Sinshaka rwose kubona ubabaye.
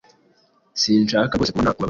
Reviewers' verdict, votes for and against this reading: rejected, 1, 2